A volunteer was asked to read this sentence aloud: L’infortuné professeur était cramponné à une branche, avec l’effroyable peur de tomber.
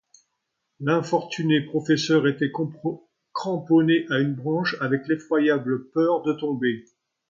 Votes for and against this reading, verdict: 0, 2, rejected